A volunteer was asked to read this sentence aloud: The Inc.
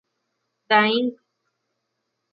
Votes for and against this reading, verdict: 0, 2, rejected